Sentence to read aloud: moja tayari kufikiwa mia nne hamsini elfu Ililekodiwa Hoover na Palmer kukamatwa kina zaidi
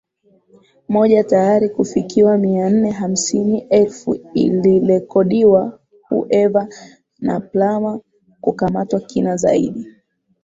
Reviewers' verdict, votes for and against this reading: rejected, 0, 2